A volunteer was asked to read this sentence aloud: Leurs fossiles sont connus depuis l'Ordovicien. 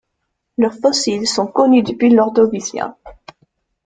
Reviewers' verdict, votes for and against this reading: rejected, 0, 2